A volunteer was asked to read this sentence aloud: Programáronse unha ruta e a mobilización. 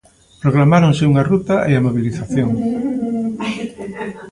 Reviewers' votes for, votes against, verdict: 2, 1, accepted